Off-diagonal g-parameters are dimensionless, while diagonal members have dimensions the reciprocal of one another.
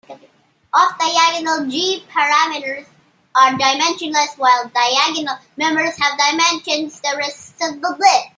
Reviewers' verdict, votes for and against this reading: rejected, 0, 2